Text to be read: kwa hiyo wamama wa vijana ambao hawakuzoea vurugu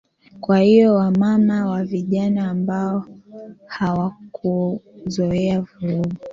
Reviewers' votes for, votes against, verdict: 1, 2, rejected